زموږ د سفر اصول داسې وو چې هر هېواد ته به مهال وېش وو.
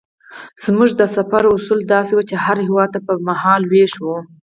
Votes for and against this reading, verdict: 4, 0, accepted